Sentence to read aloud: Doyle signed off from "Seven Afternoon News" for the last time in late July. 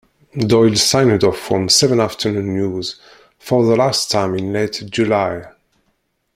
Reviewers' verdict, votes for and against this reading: rejected, 1, 2